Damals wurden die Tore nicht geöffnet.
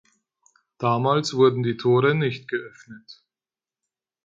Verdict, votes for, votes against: accepted, 4, 0